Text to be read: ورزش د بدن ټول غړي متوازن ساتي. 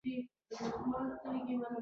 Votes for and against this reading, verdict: 2, 0, accepted